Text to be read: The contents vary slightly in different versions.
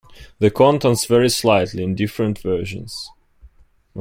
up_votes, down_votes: 2, 0